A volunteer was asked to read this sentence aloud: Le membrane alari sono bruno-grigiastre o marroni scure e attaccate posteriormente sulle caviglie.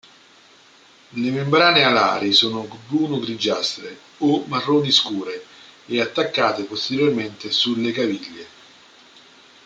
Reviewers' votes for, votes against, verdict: 2, 1, accepted